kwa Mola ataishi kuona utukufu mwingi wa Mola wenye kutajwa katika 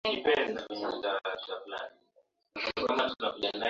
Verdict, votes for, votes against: rejected, 0, 2